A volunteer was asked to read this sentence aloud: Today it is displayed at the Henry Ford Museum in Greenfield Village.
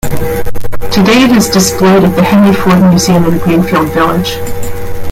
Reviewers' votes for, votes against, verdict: 0, 2, rejected